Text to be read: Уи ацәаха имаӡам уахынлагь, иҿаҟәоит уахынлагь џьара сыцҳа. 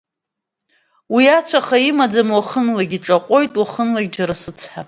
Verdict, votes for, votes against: accepted, 2, 0